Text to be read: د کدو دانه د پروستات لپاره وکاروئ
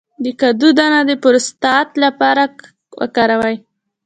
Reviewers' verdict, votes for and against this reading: accepted, 2, 0